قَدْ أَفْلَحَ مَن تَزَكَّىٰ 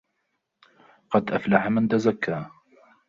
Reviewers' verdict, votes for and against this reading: rejected, 1, 2